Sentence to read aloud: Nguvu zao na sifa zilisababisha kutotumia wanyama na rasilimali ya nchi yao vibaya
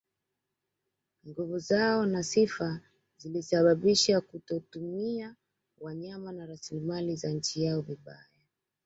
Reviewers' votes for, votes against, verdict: 1, 2, rejected